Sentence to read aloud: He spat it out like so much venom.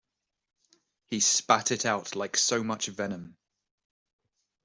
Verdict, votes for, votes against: accepted, 2, 0